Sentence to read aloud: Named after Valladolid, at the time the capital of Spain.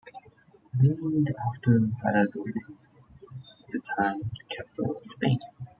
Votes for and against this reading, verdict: 2, 1, accepted